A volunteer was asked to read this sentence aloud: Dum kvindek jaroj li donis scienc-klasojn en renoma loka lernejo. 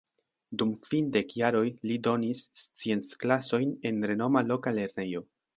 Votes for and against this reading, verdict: 2, 0, accepted